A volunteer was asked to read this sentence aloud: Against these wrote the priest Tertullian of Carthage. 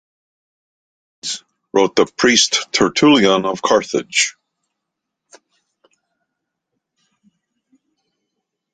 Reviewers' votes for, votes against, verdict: 1, 2, rejected